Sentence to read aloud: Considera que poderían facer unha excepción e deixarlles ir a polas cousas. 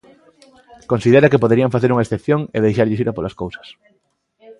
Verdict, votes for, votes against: accepted, 2, 0